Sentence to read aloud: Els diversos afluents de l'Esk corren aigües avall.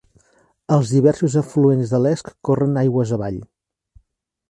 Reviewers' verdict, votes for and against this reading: accepted, 2, 0